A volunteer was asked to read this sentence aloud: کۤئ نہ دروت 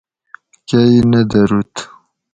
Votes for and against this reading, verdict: 4, 0, accepted